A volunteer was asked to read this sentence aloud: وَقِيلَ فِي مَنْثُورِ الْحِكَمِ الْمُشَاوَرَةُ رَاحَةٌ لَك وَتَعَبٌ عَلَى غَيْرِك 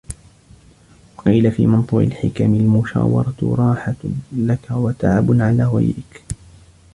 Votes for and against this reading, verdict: 2, 1, accepted